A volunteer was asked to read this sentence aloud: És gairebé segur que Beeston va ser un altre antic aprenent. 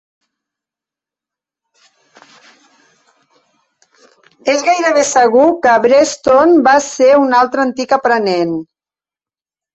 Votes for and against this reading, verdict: 0, 2, rejected